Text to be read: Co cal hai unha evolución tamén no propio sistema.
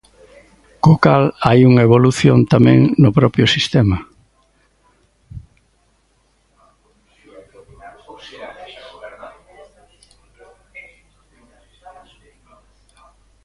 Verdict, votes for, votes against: rejected, 0, 2